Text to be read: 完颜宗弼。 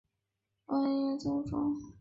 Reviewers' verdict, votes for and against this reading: rejected, 0, 3